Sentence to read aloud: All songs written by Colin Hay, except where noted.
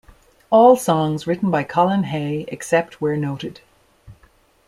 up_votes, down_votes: 2, 0